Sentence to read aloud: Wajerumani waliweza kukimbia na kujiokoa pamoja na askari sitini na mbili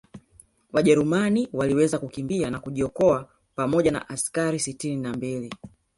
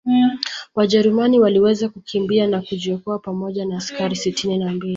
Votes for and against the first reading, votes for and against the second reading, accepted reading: 1, 2, 2, 0, second